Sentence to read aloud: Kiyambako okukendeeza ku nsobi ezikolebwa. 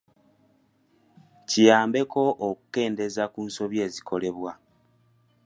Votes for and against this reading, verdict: 1, 2, rejected